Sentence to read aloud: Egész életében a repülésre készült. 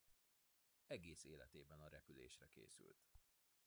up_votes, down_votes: 2, 0